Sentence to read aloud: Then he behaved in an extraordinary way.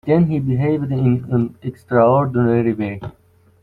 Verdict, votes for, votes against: rejected, 1, 2